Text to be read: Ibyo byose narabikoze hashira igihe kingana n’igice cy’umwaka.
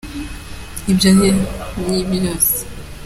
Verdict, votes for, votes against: rejected, 0, 2